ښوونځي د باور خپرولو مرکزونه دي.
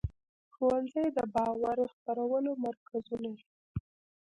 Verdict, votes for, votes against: accepted, 2, 0